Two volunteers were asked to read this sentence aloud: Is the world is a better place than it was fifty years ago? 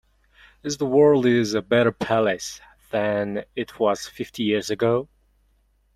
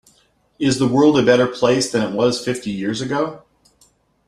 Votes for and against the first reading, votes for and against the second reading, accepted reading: 0, 2, 2, 1, second